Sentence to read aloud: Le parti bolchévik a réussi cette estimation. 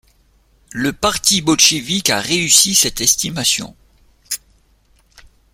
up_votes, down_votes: 2, 0